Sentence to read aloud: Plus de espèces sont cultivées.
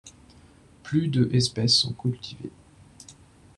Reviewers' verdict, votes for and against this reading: rejected, 1, 2